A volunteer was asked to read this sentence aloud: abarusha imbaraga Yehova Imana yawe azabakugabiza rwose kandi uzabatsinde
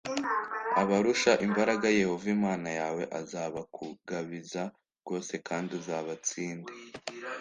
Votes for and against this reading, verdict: 2, 0, accepted